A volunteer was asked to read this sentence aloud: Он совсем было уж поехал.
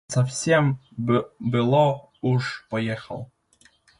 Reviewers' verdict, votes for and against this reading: rejected, 1, 2